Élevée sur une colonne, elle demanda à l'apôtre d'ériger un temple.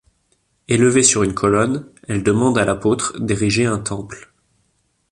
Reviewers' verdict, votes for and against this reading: rejected, 0, 2